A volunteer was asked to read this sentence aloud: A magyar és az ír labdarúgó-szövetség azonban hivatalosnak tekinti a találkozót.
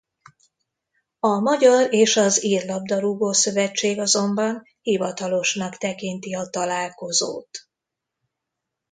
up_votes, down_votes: 2, 0